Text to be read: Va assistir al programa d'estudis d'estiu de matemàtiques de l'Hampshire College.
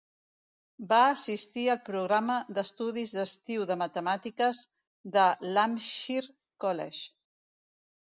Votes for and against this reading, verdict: 1, 2, rejected